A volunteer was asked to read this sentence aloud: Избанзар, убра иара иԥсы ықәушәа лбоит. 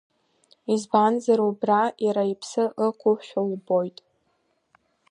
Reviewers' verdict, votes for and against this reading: accepted, 2, 1